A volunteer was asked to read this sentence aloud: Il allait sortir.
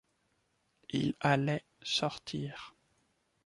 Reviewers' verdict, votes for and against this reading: accepted, 2, 1